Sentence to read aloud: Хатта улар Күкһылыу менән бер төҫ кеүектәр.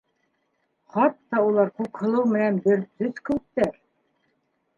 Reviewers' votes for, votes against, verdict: 1, 2, rejected